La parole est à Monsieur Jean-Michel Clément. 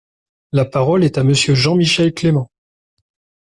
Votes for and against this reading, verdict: 2, 0, accepted